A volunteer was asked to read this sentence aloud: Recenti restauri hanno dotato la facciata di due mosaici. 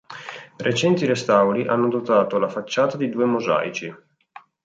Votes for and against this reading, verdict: 3, 0, accepted